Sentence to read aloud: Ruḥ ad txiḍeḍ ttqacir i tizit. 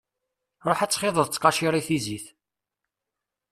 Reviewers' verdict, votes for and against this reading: accepted, 2, 0